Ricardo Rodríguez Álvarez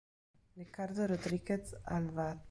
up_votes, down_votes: 1, 2